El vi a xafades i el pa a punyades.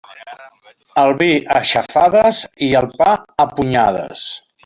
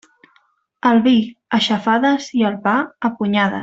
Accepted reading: first